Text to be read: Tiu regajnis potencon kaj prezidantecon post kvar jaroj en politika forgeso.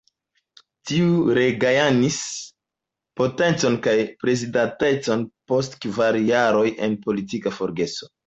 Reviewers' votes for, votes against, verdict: 1, 2, rejected